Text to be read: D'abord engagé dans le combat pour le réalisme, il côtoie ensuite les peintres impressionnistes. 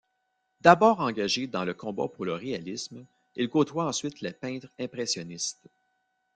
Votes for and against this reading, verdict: 1, 2, rejected